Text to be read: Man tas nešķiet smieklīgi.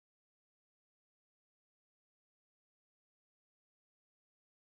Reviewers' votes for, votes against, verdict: 0, 2, rejected